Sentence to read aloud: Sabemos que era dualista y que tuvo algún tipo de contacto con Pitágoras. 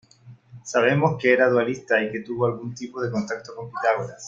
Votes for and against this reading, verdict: 2, 0, accepted